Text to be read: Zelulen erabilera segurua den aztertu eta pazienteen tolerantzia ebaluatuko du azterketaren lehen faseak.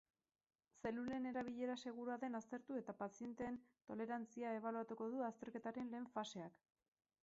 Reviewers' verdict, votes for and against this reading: accepted, 8, 4